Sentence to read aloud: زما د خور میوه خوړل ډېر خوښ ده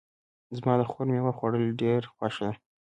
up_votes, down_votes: 2, 0